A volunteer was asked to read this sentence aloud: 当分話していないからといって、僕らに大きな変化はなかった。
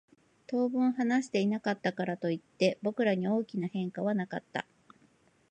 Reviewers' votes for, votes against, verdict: 0, 2, rejected